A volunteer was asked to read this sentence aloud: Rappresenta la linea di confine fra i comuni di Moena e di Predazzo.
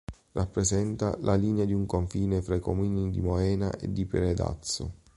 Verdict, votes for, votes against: rejected, 1, 2